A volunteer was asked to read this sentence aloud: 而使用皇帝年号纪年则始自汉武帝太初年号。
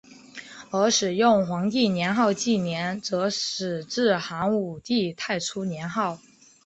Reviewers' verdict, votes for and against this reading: accepted, 2, 0